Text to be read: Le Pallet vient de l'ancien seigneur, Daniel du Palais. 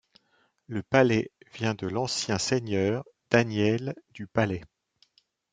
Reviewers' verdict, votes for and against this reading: accepted, 2, 0